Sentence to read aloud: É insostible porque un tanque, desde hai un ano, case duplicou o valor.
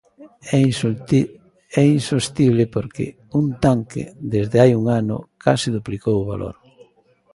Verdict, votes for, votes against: rejected, 0, 2